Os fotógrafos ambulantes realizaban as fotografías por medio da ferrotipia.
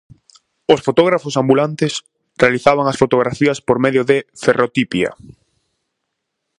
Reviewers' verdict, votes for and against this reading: rejected, 0, 4